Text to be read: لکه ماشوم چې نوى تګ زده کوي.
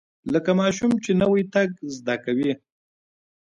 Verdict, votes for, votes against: accepted, 2, 0